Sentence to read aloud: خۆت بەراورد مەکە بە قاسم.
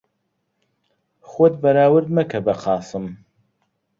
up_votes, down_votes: 2, 0